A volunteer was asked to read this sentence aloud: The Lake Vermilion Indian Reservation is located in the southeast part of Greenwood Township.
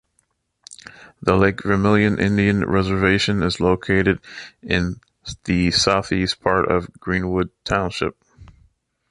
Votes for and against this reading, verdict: 2, 0, accepted